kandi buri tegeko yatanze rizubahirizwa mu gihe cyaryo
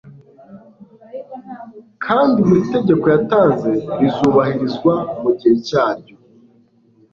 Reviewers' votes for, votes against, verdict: 2, 0, accepted